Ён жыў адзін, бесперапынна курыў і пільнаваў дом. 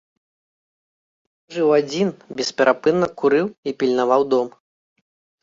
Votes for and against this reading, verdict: 0, 2, rejected